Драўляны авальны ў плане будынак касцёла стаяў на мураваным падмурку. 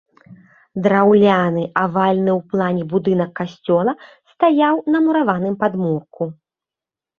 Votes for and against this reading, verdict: 2, 0, accepted